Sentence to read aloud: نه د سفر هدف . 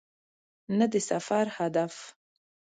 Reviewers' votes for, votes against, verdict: 2, 0, accepted